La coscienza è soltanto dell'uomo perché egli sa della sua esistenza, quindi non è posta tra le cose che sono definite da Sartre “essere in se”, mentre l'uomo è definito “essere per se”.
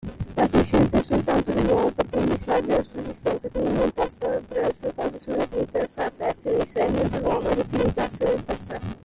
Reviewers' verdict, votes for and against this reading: rejected, 0, 2